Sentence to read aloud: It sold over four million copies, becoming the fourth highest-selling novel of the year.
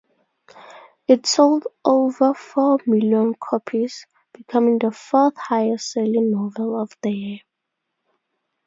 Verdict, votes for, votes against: accepted, 2, 0